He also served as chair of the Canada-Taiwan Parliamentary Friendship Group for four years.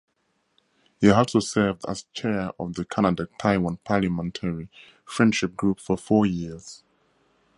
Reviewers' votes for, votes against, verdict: 4, 0, accepted